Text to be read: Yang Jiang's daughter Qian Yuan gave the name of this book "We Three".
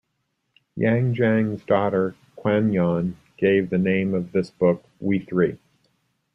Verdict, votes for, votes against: accepted, 2, 0